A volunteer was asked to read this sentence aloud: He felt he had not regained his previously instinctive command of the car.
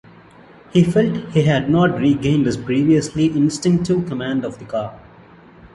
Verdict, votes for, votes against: accepted, 2, 0